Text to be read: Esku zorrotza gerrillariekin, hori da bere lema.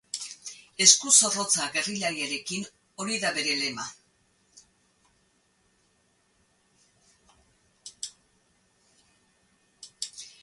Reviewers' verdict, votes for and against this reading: rejected, 0, 2